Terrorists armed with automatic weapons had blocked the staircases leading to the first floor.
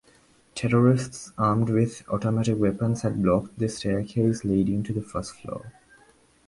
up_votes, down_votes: 0, 2